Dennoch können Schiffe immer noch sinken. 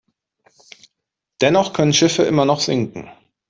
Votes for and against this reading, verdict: 2, 0, accepted